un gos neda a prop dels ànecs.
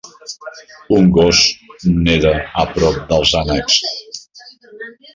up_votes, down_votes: 1, 2